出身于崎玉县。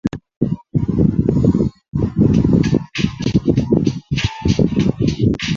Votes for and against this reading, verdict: 1, 2, rejected